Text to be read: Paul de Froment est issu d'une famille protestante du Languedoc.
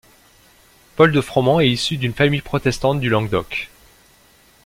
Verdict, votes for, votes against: rejected, 1, 2